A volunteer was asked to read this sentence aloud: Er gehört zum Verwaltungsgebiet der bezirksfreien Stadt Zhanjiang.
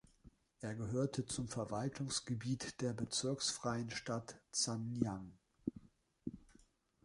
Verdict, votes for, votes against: rejected, 1, 2